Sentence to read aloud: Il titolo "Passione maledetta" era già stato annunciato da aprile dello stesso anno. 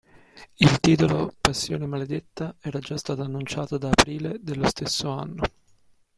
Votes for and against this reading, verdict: 0, 2, rejected